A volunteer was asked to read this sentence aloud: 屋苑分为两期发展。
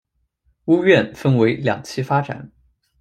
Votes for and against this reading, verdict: 2, 0, accepted